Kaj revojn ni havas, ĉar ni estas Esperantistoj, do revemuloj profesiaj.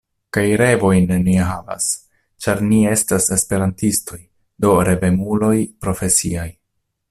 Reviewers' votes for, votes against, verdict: 1, 2, rejected